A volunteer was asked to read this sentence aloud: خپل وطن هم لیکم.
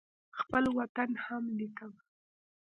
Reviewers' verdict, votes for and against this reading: rejected, 2, 3